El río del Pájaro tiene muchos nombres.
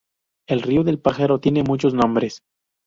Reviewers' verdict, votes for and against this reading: accepted, 2, 0